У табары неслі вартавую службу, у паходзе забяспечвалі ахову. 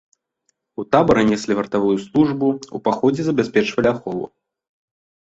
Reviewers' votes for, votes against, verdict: 2, 0, accepted